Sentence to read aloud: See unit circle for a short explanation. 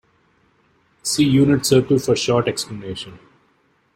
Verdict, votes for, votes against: rejected, 0, 2